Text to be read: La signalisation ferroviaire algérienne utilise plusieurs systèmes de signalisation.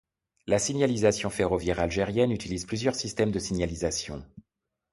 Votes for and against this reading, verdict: 2, 0, accepted